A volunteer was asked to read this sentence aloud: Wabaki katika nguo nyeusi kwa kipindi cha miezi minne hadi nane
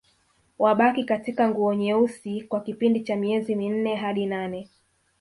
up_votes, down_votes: 2, 0